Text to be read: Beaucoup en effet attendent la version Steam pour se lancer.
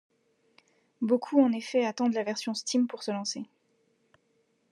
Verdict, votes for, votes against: accepted, 2, 0